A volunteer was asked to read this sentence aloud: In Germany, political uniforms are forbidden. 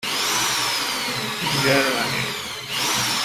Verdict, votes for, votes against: rejected, 0, 2